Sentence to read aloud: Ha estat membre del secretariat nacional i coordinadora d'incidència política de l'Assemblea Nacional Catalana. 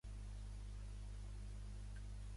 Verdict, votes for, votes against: rejected, 0, 2